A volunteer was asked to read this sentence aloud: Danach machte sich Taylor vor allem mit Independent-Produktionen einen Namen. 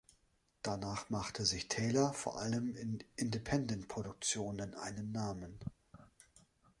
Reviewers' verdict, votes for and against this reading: rejected, 0, 2